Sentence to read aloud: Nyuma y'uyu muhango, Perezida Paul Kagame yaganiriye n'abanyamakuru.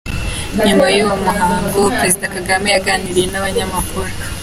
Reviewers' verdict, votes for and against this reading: rejected, 0, 2